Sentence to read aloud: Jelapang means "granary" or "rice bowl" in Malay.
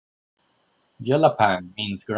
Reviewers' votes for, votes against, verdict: 0, 2, rejected